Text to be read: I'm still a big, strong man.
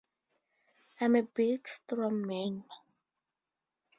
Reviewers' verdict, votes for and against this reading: rejected, 0, 2